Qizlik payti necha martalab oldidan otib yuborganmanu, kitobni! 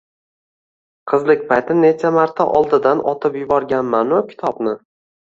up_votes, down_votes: 2, 0